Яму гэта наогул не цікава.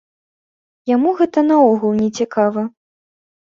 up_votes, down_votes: 2, 0